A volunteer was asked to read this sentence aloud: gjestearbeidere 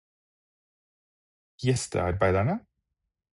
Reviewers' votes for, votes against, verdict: 0, 4, rejected